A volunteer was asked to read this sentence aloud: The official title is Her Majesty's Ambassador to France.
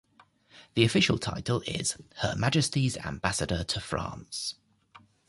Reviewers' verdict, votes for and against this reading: accepted, 3, 0